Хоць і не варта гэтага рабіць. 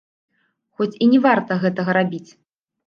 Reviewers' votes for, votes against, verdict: 0, 2, rejected